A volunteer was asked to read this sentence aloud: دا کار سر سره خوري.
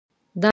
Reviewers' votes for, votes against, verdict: 0, 2, rejected